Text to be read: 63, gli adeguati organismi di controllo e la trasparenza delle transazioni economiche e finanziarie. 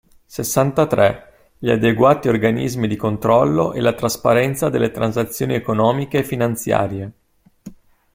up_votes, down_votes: 0, 2